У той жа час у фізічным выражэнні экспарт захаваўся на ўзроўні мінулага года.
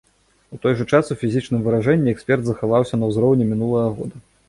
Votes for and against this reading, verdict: 0, 3, rejected